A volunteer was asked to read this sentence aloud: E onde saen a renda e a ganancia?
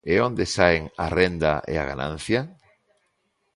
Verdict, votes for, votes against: accepted, 2, 0